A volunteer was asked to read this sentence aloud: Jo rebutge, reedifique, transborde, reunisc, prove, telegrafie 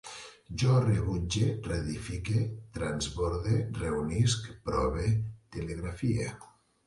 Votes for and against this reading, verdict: 2, 0, accepted